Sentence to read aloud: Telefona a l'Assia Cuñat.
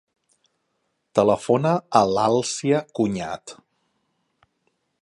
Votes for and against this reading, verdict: 0, 2, rejected